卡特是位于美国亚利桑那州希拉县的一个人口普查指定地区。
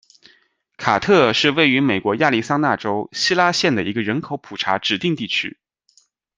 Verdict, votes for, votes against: accepted, 2, 0